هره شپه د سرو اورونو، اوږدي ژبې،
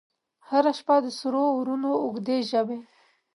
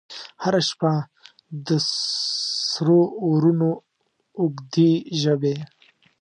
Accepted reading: first